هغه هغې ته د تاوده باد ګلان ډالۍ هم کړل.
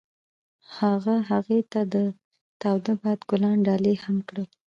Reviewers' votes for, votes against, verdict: 2, 0, accepted